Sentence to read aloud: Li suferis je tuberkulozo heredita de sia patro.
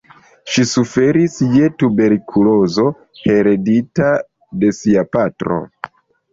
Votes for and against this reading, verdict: 1, 2, rejected